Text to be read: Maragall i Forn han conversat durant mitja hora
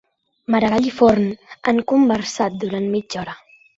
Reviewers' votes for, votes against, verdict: 3, 0, accepted